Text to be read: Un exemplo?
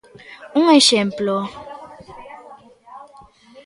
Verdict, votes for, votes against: accepted, 2, 1